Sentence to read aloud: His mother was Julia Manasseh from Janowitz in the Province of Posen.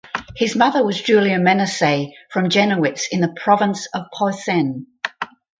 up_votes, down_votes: 2, 2